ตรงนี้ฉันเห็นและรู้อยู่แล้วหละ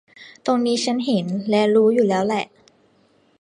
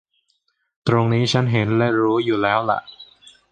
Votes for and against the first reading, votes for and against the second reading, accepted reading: 0, 2, 2, 0, second